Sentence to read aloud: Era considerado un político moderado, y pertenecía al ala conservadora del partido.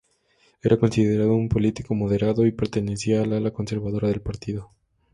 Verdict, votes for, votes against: rejected, 0, 2